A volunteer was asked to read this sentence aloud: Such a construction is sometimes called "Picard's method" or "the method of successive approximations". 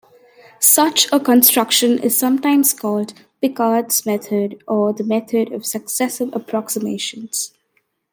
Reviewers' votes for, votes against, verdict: 2, 0, accepted